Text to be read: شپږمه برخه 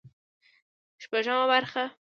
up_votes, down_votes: 2, 0